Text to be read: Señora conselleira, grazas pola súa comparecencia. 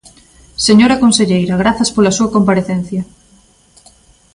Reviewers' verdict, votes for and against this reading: accepted, 2, 0